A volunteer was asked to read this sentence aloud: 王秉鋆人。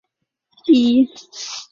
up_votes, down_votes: 1, 3